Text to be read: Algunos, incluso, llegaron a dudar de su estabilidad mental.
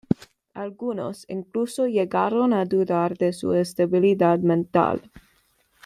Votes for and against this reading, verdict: 2, 0, accepted